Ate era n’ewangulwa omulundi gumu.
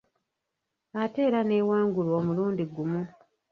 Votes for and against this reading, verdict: 0, 2, rejected